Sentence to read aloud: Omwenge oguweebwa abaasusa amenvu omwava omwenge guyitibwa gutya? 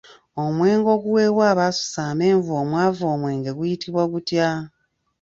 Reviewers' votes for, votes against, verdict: 2, 0, accepted